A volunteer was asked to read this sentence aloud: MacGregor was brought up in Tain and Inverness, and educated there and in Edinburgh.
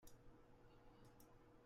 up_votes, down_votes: 0, 2